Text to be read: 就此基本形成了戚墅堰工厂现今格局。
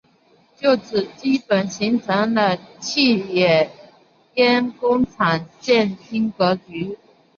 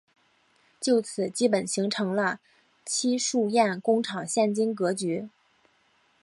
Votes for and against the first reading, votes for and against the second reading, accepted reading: 0, 2, 3, 0, second